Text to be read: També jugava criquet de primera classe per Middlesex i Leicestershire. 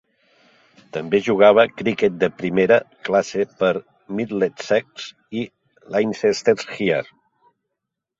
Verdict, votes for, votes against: rejected, 0, 2